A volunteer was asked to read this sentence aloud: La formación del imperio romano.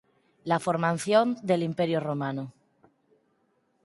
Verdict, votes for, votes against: rejected, 0, 4